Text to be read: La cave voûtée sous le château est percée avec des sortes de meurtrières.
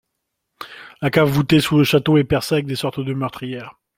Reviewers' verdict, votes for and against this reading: accepted, 2, 0